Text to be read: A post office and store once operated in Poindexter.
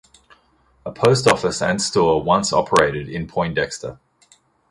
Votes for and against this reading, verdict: 3, 0, accepted